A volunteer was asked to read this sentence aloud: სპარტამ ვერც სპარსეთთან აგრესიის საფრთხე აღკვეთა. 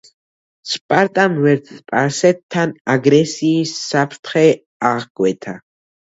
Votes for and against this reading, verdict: 1, 2, rejected